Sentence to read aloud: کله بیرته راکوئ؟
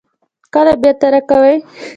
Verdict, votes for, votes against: accepted, 2, 1